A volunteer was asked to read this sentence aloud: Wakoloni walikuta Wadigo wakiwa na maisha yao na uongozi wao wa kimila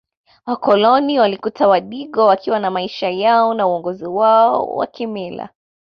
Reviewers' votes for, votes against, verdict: 2, 0, accepted